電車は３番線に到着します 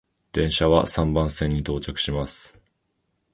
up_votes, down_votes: 0, 2